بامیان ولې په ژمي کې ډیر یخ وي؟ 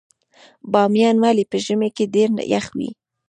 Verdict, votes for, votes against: rejected, 0, 2